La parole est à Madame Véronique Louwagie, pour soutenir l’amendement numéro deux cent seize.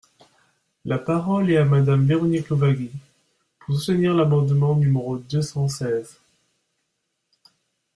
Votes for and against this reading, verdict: 1, 2, rejected